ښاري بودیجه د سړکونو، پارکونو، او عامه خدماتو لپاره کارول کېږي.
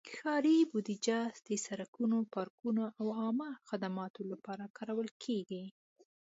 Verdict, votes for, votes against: accepted, 2, 0